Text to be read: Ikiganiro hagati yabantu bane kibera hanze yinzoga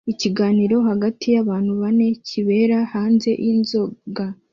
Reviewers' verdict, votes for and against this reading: accepted, 2, 0